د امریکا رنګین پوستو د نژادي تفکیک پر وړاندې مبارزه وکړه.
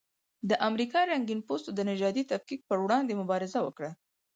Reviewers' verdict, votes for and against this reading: accepted, 4, 0